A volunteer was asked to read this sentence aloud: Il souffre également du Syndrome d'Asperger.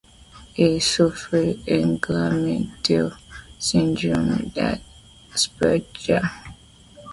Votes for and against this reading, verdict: 0, 2, rejected